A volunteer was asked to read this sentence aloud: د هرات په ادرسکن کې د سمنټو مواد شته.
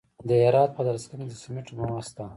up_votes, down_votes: 0, 2